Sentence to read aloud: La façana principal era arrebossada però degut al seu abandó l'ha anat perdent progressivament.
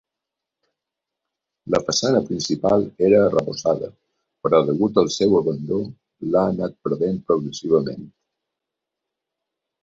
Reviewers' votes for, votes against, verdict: 1, 2, rejected